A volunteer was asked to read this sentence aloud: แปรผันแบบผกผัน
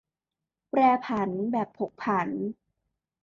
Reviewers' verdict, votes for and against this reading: accepted, 2, 0